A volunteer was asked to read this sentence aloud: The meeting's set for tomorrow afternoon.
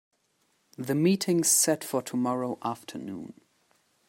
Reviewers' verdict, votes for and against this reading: accepted, 2, 0